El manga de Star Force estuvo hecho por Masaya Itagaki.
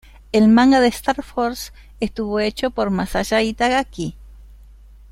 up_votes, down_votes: 1, 2